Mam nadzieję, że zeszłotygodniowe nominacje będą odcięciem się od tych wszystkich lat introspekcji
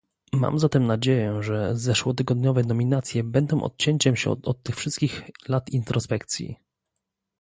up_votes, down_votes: 0, 2